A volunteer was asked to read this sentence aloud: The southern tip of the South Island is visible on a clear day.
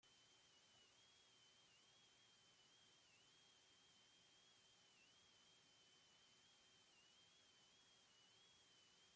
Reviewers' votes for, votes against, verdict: 0, 2, rejected